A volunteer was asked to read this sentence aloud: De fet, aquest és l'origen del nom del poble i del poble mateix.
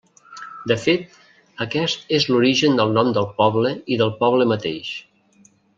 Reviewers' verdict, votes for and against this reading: accepted, 3, 0